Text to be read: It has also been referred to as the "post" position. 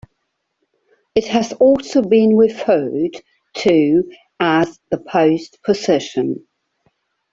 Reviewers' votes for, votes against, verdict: 2, 0, accepted